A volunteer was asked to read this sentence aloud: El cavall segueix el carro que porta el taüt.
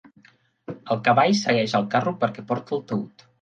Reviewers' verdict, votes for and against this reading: rejected, 1, 2